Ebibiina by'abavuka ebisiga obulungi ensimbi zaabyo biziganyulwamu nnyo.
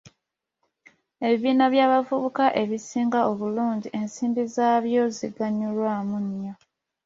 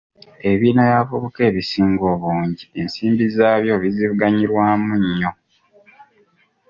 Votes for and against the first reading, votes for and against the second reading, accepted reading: 2, 0, 1, 2, first